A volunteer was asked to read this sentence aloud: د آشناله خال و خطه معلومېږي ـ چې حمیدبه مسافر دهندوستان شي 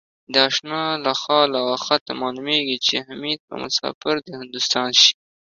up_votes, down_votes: 2, 0